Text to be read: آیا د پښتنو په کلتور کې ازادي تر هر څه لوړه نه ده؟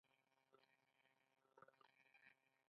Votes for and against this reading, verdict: 1, 2, rejected